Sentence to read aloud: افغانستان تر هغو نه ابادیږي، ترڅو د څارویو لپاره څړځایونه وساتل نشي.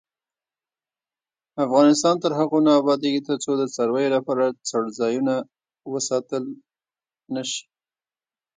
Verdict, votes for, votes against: rejected, 0, 2